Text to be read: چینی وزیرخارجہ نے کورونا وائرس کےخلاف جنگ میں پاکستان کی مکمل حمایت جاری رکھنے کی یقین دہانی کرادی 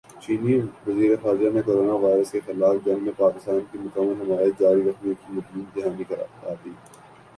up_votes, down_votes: 1, 2